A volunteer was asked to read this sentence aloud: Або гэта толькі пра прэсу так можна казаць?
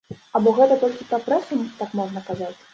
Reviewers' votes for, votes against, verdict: 2, 0, accepted